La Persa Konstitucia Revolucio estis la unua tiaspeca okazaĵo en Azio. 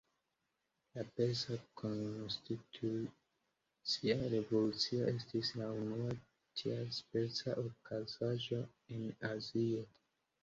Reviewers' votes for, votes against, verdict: 3, 0, accepted